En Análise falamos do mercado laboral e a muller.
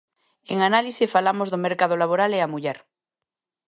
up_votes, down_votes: 2, 0